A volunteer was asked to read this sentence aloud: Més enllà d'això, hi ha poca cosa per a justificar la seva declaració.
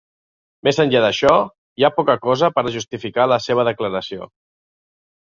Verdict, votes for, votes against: accepted, 2, 0